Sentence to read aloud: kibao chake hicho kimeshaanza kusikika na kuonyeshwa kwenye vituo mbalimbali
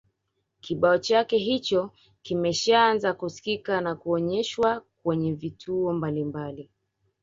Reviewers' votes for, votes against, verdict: 2, 1, accepted